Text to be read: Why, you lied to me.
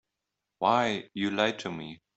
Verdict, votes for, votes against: accepted, 2, 0